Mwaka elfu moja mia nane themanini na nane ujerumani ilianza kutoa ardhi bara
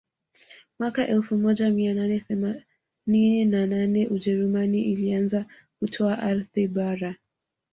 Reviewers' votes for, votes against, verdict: 1, 2, rejected